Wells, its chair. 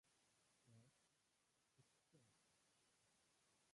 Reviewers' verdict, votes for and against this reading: rejected, 0, 2